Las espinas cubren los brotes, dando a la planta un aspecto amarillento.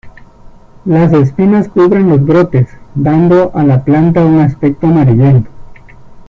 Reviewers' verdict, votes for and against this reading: accepted, 2, 0